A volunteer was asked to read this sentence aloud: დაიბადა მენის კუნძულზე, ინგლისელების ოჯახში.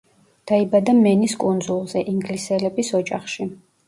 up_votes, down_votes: 2, 0